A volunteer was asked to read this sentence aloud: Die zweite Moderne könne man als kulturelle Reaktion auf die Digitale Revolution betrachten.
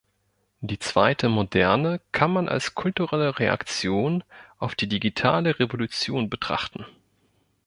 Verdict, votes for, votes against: rejected, 1, 2